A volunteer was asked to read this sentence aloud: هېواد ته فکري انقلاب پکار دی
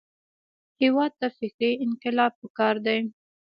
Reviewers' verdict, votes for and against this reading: accepted, 2, 0